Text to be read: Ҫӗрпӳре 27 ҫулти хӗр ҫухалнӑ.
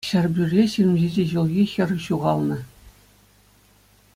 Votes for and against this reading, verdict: 0, 2, rejected